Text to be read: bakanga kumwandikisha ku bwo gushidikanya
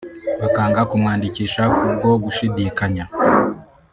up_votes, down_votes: 0, 2